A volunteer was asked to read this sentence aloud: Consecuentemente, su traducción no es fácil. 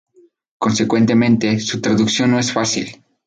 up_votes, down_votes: 2, 0